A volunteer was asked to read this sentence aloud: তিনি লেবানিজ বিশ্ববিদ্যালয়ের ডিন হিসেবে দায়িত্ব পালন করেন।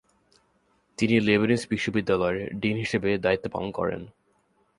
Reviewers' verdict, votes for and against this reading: accepted, 2, 0